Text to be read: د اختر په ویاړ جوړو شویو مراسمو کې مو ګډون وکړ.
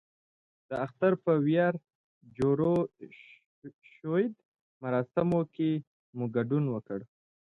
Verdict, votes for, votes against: accepted, 2, 0